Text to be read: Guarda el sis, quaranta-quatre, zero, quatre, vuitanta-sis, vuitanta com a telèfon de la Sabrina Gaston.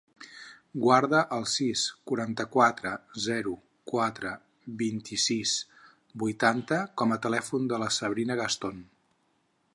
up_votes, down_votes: 2, 10